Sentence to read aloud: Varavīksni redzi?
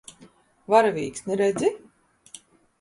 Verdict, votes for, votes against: accepted, 2, 0